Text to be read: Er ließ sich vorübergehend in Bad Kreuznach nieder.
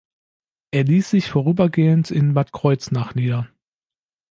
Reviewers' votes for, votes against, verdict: 2, 0, accepted